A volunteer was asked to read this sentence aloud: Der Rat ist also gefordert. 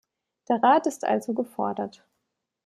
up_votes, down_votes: 2, 0